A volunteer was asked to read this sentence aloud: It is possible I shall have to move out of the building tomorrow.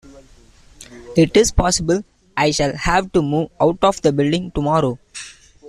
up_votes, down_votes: 2, 0